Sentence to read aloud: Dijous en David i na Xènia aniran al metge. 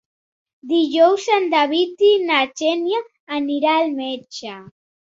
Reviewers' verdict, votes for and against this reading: rejected, 0, 2